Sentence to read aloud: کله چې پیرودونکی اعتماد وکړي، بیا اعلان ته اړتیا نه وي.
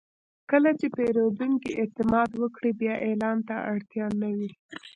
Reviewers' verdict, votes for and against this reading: rejected, 0, 2